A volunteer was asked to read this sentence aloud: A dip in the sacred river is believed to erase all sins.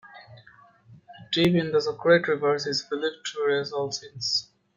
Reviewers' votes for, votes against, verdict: 0, 2, rejected